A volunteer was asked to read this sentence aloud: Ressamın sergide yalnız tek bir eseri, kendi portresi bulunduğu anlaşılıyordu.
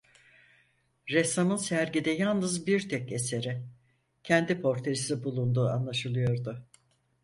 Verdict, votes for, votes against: rejected, 2, 4